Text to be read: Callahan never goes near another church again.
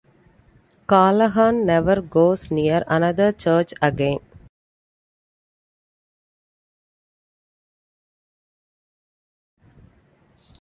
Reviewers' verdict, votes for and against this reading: accepted, 2, 1